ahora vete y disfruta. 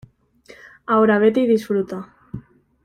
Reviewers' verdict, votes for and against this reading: accepted, 2, 0